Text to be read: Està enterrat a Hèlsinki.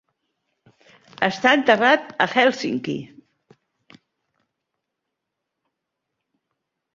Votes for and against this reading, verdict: 4, 0, accepted